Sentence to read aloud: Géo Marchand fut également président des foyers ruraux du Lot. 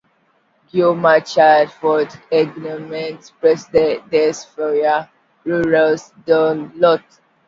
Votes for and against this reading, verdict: 0, 2, rejected